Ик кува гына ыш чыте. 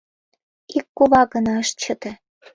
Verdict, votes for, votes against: accepted, 2, 0